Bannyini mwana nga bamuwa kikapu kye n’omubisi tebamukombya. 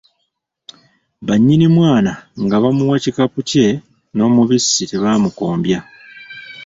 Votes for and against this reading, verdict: 1, 3, rejected